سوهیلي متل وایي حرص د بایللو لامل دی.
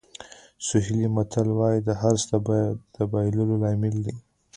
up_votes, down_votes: 0, 2